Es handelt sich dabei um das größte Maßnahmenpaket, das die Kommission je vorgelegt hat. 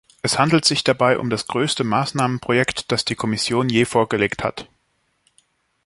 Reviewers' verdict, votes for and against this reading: rejected, 0, 2